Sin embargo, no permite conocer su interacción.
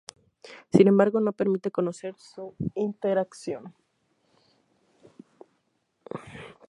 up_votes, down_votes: 0, 2